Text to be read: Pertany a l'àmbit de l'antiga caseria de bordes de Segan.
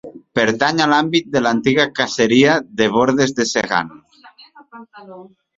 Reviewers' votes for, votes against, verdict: 1, 2, rejected